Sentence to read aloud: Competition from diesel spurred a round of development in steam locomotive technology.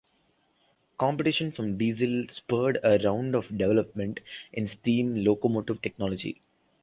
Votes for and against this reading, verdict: 1, 2, rejected